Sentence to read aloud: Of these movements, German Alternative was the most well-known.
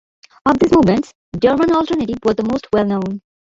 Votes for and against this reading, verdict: 0, 2, rejected